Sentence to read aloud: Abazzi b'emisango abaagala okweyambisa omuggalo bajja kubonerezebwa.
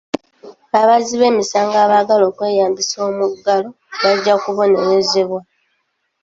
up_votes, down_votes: 2, 1